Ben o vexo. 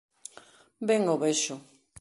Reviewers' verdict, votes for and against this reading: accepted, 2, 0